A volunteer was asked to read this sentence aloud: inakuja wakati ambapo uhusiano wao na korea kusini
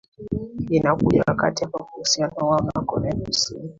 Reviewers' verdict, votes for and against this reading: accepted, 2, 1